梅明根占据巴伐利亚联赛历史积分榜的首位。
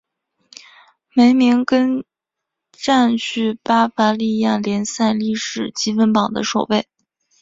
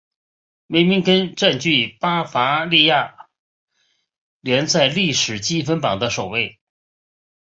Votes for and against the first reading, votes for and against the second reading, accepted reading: 0, 2, 2, 0, second